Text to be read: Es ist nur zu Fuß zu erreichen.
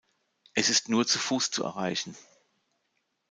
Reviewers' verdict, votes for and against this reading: accepted, 2, 0